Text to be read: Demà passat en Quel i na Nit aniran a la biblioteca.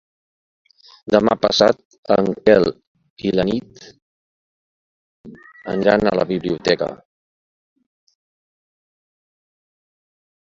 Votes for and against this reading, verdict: 2, 1, accepted